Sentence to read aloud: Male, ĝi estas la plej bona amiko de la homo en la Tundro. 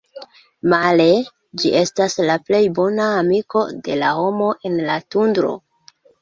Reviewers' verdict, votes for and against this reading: accepted, 2, 1